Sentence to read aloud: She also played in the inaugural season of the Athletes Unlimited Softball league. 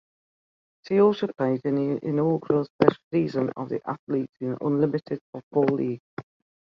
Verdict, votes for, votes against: rejected, 1, 2